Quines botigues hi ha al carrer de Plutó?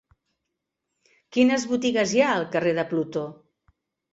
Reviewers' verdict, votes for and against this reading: accepted, 2, 0